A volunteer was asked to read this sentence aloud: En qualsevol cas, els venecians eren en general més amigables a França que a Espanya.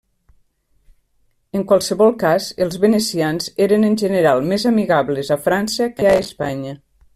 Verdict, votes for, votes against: rejected, 1, 2